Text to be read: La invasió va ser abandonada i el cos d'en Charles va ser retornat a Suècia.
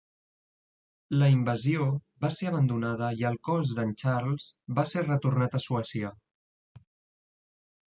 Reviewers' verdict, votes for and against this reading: accepted, 2, 0